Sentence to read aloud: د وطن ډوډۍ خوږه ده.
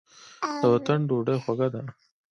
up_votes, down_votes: 2, 1